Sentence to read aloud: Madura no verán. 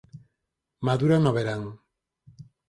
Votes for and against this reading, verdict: 4, 2, accepted